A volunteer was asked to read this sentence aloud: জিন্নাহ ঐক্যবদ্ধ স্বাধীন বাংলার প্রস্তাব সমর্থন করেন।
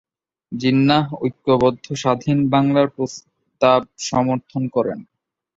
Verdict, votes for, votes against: rejected, 1, 2